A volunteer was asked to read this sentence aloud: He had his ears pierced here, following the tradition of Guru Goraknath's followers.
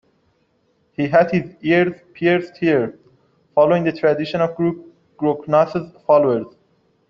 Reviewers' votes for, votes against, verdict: 2, 0, accepted